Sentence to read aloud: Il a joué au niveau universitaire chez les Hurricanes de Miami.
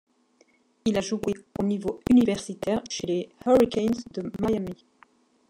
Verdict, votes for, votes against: accepted, 2, 1